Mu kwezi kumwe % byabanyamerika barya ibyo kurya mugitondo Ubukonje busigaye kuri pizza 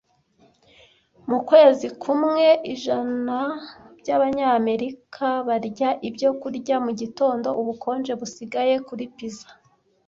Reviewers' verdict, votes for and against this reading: rejected, 0, 2